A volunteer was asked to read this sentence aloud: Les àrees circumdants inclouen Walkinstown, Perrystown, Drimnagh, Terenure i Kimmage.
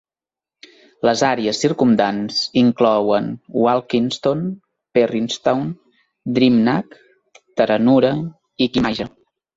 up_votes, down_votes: 2, 0